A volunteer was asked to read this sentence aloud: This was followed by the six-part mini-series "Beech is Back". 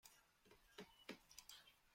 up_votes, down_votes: 0, 2